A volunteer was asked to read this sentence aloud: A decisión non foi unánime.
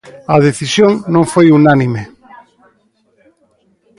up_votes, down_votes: 2, 0